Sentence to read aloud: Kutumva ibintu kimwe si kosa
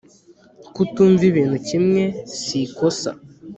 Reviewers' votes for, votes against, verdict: 2, 0, accepted